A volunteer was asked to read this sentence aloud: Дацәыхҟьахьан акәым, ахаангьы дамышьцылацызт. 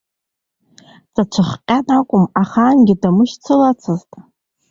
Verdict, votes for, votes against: rejected, 1, 2